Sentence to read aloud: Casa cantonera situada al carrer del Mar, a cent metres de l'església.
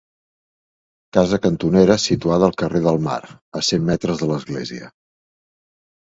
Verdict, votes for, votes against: accepted, 2, 0